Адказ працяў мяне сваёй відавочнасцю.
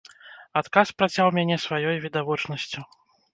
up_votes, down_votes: 2, 0